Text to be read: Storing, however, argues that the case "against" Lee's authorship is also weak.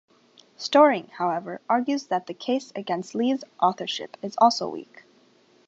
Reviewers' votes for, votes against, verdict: 2, 0, accepted